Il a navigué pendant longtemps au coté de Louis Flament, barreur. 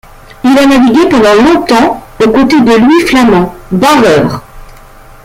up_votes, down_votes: 1, 2